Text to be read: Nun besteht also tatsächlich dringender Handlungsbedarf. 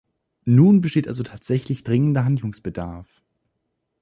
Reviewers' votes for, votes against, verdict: 2, 0, accepted